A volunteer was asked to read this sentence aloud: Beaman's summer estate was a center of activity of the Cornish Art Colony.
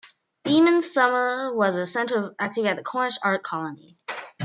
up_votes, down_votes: 0, 2